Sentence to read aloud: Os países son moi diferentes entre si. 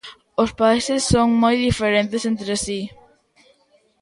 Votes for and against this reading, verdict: 2, 0, accepted